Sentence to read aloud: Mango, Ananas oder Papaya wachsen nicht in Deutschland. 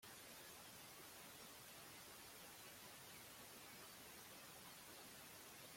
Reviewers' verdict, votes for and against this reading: rejected, 0, 2